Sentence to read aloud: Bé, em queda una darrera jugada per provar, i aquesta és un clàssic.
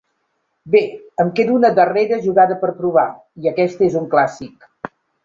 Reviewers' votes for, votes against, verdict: 2, 0, accepted